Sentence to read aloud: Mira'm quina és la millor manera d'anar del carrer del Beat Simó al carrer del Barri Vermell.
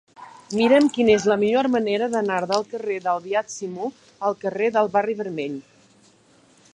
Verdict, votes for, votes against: accepted, 2, 0